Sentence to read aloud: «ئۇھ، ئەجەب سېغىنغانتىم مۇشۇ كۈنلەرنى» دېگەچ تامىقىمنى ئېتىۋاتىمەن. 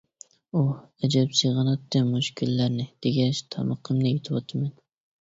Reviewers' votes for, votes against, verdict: 0, 2, rejected